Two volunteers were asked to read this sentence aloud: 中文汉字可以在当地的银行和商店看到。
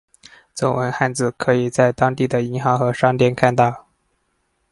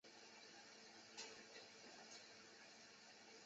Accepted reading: first